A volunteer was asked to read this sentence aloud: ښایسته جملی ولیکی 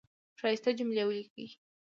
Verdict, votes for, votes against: accepted, 2, 0